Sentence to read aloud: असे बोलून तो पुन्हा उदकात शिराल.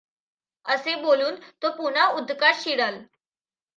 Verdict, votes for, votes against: accepted, 2, 1